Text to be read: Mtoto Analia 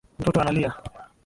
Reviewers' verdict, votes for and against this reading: rejected, 0, 2